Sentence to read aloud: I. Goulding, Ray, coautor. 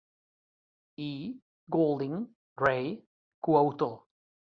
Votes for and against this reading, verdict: 2, 1, accepted